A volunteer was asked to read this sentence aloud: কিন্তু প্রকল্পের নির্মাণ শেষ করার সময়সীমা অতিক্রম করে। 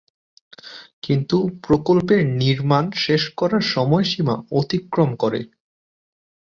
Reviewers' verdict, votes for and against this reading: accepted, 2, 0